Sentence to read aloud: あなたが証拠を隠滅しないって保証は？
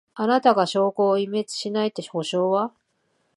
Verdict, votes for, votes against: accepted, 2, 1